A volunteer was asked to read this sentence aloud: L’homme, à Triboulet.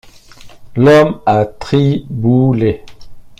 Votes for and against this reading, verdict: 1, 2, rejected